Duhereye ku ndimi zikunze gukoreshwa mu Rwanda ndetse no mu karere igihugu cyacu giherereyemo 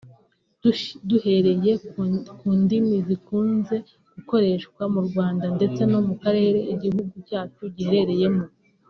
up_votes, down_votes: 0, 2